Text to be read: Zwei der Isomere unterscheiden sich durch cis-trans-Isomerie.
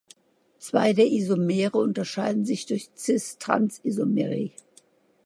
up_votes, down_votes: 2, 0